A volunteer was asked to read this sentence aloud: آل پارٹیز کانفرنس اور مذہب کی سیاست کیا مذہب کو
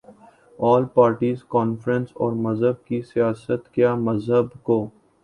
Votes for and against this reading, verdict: 3, 0, accepted